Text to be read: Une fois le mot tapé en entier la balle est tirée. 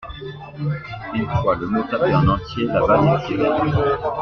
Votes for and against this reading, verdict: 2, 0, accepted